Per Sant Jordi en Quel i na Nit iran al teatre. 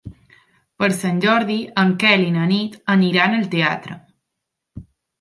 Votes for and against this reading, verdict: 0, 2, rejected